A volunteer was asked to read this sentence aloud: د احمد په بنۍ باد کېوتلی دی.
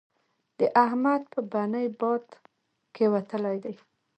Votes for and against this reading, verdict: 0, 2, rejected